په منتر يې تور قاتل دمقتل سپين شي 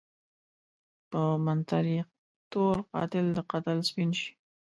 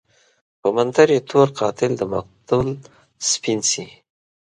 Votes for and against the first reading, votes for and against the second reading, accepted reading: 1, 2, 2, 0, second